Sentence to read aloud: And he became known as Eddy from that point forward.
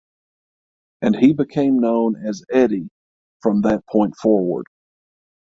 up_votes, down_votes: 6, 0